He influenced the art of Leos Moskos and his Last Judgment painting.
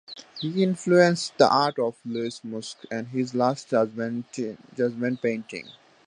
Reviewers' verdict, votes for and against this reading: rejected, 1, 2